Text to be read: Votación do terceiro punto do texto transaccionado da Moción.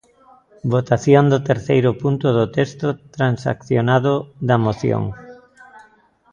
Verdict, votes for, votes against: accepted, 2, 0